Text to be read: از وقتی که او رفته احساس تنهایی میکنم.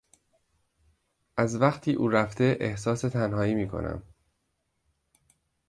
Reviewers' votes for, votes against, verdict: 1, 2, rejected